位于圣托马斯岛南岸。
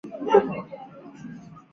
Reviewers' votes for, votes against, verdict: 0, 2, rejected